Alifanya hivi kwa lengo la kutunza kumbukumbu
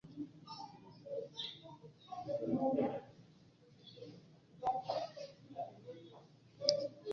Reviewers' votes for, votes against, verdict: 0, 2, rejected